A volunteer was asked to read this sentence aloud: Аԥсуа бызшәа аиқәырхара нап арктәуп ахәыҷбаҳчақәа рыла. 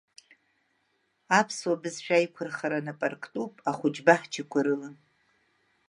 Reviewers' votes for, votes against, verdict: 2, 0, accepted